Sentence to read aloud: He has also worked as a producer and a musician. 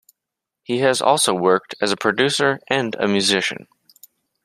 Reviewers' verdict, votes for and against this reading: accepted, 2, 0